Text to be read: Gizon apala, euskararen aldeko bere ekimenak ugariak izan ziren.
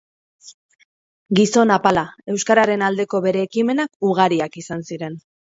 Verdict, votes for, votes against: accepted, 4, 0